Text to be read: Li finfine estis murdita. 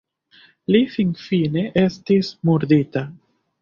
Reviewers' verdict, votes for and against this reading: rejected, 1, 2